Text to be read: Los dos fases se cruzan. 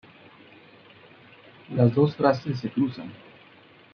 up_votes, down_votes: 1, 2